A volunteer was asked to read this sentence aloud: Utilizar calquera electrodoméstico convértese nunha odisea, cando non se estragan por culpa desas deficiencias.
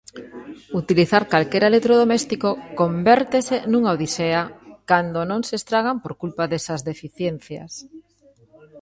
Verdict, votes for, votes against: rejected, 0, 2